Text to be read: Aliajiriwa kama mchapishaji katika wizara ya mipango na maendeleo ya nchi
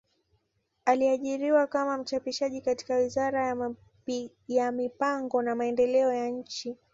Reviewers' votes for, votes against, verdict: 1, 2, rejected